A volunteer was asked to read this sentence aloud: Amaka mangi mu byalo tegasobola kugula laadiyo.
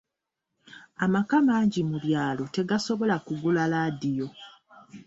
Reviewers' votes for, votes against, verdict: 2, 0, accepted